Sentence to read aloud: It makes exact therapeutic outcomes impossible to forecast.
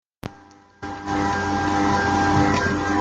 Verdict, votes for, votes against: rejected, 0, 2